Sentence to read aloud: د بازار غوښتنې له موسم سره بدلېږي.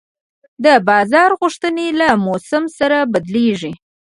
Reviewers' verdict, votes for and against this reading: accepted, 2, 1